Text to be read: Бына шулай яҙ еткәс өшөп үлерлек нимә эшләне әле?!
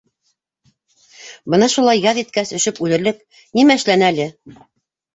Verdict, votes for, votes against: accepted, 2, 0